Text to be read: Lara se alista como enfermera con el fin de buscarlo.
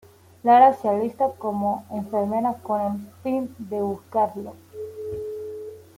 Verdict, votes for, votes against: accepted, 2, 0